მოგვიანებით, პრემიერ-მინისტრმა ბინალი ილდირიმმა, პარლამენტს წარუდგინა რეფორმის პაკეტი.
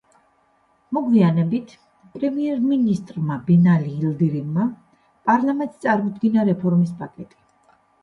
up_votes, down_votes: 1, 2